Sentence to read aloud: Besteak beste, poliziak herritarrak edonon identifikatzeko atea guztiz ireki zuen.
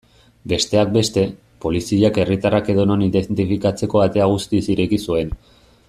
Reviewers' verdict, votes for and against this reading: rejected, 1, 2